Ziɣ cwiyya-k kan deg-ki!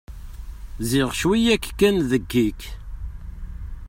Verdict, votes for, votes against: rejected, 1, 2